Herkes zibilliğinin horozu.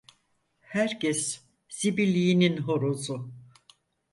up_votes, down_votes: 4, 0